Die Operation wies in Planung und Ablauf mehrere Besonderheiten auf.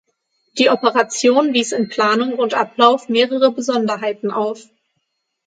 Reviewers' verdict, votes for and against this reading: accepted, 6, 0